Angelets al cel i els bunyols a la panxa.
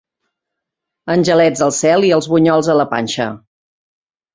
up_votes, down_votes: 2, 0